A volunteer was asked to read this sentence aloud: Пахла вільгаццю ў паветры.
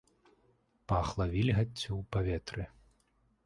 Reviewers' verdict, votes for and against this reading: accepted, 2, 1